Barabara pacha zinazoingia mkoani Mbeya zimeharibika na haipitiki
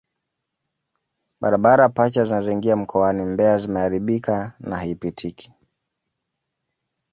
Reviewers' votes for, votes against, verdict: 0, 2, rejected